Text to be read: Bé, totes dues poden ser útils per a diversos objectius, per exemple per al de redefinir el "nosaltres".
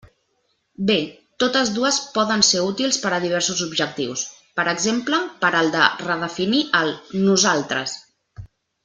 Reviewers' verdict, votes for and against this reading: accepted, 2, 0